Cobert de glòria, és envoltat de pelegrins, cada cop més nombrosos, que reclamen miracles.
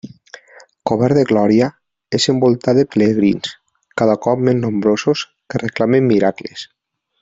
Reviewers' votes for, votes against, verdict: 2, 0, accepted